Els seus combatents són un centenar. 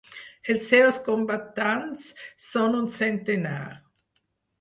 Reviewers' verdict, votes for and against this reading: rejected, 0, 4